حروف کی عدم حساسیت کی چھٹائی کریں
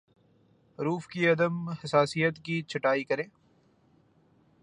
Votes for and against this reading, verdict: 2, 0, accepted